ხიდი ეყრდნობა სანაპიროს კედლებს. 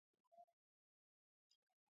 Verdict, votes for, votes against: rejected, 0, 2